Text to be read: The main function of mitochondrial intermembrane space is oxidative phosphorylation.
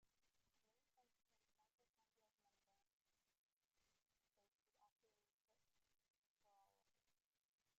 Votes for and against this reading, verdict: 0, 4, rejected